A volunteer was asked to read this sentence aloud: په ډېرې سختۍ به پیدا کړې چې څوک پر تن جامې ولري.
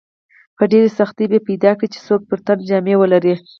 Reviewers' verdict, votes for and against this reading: accepted, 4, 0